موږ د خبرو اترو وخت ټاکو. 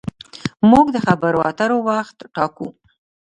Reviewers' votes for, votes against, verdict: 0, 2, rejected